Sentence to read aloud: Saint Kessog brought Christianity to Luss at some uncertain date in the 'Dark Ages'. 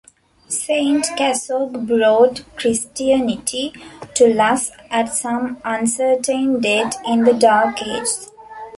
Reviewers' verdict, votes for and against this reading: rejected, 2, 3